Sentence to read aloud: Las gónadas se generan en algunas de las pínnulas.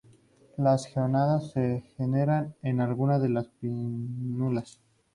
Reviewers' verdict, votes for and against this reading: accepted, 2, 0